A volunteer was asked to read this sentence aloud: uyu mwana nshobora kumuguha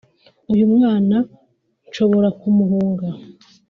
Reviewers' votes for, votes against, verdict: 0, 2, rejected